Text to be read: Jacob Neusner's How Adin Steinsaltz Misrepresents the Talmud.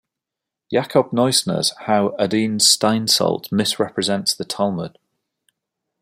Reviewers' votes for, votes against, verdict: 2, 0, accepted